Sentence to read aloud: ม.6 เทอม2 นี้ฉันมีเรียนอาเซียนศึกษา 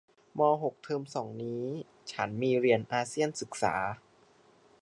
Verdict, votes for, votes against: rejected, 0, 2